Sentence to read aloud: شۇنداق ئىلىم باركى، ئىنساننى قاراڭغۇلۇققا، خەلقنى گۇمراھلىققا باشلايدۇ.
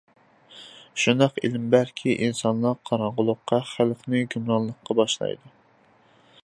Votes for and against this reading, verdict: 0, 2, rejected